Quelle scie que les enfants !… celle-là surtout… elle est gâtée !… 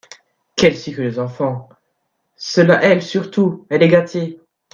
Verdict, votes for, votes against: rejected, 1, 2